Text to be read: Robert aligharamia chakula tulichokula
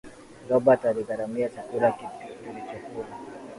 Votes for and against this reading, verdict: 2, 0, accepted